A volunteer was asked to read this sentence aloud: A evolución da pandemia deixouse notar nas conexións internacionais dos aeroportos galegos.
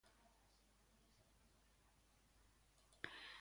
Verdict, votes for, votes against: rejected, 0, 2